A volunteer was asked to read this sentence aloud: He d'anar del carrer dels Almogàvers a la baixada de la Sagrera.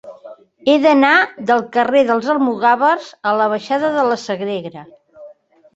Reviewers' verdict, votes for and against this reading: accepted, 2, 0